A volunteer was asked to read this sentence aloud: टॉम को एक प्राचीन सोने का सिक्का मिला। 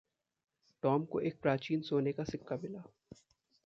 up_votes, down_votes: 2, 0